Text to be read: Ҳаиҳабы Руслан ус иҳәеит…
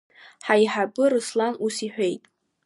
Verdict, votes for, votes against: accepted, 2, 0